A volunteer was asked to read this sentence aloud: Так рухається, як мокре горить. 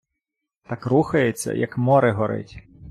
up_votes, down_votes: 0, 2